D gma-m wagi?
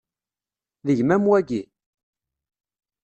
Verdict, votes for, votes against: accepted, 2, 1